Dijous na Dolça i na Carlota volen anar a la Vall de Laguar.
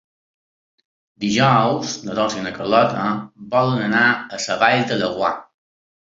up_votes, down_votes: 2, 0